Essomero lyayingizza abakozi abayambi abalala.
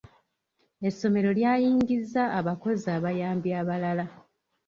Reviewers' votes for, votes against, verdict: 2, 0, accepted